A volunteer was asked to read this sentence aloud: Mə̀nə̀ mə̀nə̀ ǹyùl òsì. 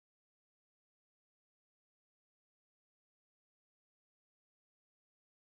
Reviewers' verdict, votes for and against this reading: rejected, 0, 2